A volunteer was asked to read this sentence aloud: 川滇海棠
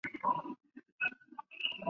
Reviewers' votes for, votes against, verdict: 0, 2, rejected